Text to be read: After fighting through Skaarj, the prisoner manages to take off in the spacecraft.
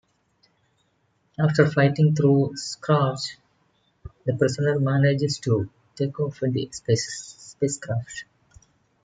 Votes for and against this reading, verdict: 1, 2, rejected